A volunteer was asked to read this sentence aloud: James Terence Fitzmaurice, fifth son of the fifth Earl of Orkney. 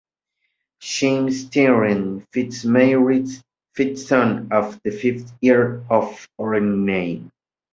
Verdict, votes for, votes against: rejected, 1, 2